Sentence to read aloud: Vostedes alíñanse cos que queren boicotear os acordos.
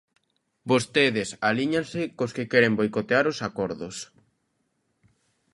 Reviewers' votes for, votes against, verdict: 2, 0, accepted